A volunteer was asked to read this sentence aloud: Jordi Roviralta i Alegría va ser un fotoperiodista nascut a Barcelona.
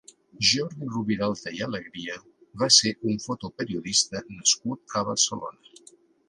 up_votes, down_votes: 2, 1